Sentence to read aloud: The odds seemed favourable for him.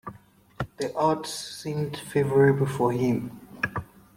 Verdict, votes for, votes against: accepted, 2, 0